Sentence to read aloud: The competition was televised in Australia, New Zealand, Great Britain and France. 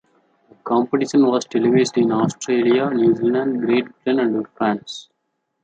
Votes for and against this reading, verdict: 0, 2, rejected